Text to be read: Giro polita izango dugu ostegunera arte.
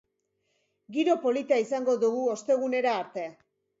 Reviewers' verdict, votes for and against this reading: accepted, 2, 0